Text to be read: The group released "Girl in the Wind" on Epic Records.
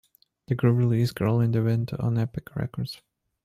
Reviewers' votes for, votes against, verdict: 2, 0, accepted